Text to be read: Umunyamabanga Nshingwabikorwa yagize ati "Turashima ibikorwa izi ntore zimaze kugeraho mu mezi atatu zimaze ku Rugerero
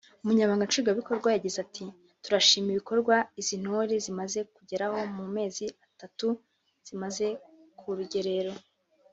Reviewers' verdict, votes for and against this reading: accepted, 2, 0